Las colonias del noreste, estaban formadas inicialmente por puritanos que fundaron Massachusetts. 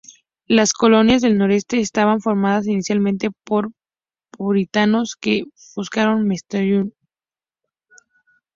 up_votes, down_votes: 0, 2